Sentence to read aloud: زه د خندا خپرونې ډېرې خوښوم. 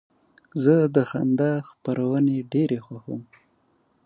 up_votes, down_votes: 2, 0